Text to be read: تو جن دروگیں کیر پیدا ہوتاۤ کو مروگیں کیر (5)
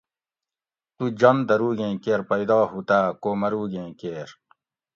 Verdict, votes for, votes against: rejected, 0, 2